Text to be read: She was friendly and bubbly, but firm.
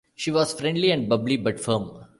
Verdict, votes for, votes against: accepted, 2, 0